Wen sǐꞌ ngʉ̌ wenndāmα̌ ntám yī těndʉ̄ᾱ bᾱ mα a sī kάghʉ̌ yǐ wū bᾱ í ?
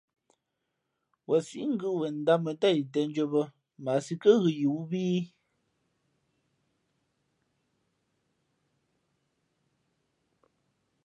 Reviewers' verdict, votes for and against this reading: accepted, 2, 0